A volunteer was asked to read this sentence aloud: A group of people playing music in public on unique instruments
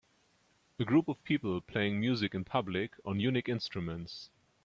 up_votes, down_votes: 2, 0